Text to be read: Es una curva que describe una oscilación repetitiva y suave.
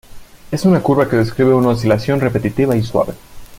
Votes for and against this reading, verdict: 2, 0, accepted